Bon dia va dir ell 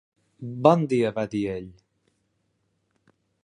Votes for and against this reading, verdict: 4, 0, accepted